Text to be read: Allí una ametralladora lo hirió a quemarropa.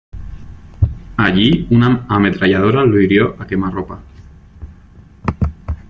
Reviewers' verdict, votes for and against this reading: accepted, 2, 1